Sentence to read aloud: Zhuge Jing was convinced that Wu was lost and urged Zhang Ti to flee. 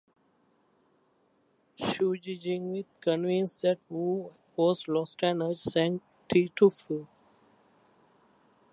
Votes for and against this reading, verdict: 2, 4, rejected